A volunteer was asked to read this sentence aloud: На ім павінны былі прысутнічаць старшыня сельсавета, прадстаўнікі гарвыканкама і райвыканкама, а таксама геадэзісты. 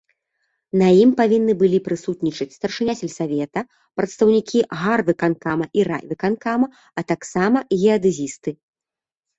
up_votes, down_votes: 2, 0